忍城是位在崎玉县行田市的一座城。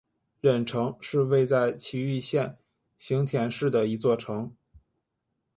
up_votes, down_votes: 2, 0